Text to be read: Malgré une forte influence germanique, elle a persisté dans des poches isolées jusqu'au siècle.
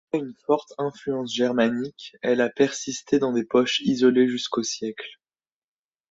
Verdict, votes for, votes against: rejected, 0, 2